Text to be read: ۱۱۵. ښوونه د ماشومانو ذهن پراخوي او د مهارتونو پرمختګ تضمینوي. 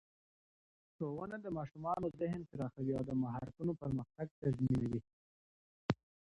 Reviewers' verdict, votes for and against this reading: rejected, 0, 2